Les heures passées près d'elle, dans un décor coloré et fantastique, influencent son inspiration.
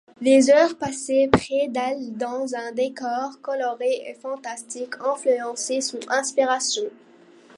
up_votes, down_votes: 0, 2